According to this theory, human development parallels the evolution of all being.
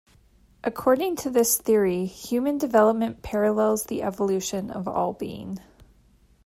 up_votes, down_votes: 2, 0